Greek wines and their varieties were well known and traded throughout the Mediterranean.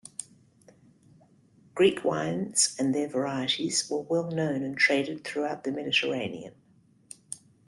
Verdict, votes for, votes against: accepted, 2, 0